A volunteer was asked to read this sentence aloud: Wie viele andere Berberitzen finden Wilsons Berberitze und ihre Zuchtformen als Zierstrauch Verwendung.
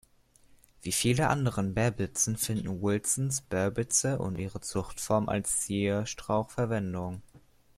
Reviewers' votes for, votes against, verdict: 1, 2, rejected